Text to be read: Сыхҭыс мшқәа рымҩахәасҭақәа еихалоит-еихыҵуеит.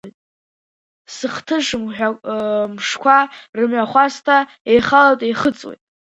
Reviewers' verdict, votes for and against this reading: rejected, 1, 2